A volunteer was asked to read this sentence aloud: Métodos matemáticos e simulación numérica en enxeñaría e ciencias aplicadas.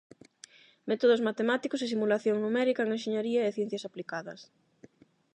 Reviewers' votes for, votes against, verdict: 8, 0, accepted